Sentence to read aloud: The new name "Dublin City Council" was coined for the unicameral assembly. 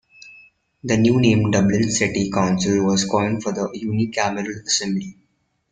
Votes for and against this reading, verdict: 2, 1, accepted